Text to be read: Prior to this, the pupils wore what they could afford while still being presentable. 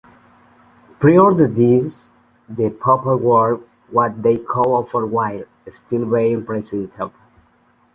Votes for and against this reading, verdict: 0, 2, rejected